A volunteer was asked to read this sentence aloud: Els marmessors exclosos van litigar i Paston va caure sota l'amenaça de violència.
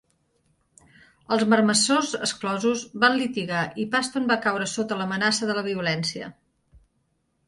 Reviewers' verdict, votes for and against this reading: accepted, 4, 1